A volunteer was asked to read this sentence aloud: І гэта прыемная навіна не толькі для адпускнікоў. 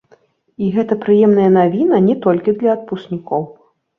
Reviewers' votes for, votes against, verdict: 3, 0, accepted